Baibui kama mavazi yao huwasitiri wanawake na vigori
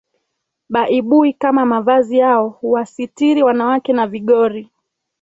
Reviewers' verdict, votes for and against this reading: accepted, 2, 0